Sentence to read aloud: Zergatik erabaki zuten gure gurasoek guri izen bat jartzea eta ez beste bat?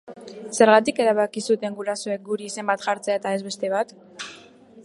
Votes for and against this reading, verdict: 0, 2, rejected